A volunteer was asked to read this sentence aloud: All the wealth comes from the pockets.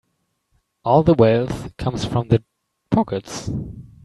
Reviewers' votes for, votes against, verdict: 2, 1, accepted